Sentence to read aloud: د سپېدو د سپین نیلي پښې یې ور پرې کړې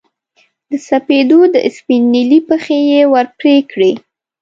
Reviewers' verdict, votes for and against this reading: rejected, 0, 2